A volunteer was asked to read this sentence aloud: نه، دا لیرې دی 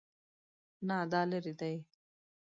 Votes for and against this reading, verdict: 2, 0, accepted